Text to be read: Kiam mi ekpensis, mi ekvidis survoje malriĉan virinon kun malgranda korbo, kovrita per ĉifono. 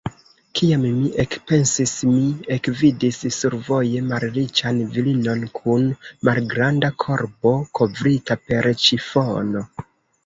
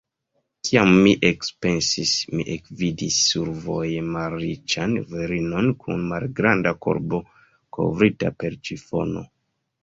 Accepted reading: second